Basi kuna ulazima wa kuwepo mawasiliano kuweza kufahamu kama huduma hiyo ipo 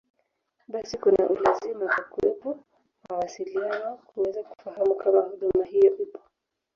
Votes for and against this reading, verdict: 3, 2, accepted